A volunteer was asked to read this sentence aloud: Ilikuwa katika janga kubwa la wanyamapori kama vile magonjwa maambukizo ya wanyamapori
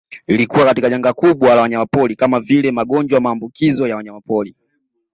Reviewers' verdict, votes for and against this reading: accepted, 2, 0